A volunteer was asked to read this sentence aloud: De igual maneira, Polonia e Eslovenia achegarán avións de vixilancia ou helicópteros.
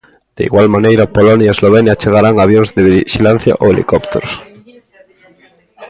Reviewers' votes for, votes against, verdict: 1, 2, rejected